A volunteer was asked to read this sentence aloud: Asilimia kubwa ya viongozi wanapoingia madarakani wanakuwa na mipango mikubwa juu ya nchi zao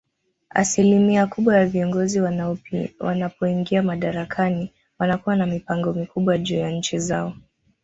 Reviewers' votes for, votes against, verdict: 1, 2, rejected